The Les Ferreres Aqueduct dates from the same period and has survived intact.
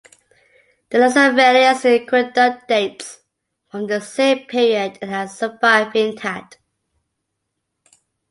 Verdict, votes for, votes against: rejected, 1, 2